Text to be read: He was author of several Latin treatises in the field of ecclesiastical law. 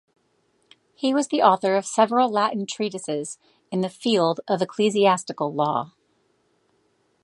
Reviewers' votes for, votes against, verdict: 1, 2, rejected